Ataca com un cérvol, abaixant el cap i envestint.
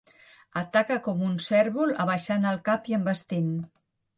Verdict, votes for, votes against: accepted, 3, 0